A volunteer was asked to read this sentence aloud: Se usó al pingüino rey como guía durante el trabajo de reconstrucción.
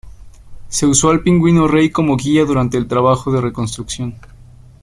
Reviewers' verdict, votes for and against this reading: accepted, 2, 0